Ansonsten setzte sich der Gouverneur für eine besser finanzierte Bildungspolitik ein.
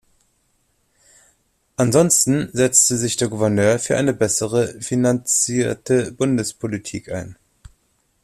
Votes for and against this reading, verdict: 1, 2, rejected